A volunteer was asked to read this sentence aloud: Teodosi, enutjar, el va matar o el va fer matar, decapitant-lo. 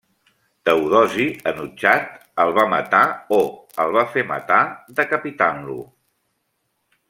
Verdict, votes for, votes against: rejected, 1, 2